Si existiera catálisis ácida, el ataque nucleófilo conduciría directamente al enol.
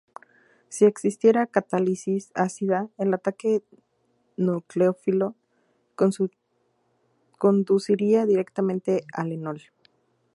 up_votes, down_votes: 0, 2